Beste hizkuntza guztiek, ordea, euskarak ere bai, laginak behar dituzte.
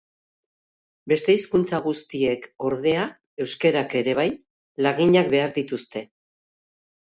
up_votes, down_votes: 1, 2